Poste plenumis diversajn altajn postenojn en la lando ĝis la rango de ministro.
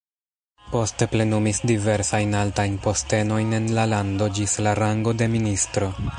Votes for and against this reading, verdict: 0, 2, rejected